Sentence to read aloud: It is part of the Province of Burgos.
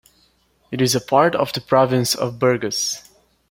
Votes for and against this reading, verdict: 2, 1, accepted